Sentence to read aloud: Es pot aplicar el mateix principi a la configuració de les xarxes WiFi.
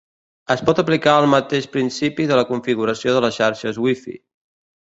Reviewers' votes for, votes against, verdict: 0, 2, rejected